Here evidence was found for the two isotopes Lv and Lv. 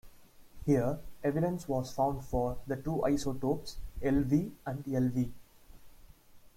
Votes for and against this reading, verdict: 2, 0, accepted